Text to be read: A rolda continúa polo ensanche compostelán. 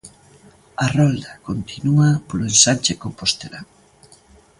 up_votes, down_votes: 2, 0